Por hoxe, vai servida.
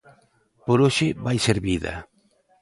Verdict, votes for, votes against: rejected, 1, 2